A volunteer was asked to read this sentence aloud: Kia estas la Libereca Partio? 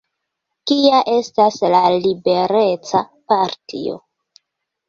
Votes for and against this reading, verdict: 0, 2, rejected